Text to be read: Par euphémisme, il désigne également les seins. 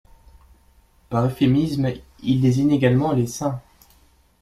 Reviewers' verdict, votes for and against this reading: accepted, 2, 0